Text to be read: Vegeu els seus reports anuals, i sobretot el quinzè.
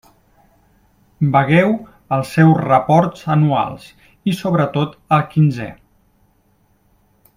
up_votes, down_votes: 0, 2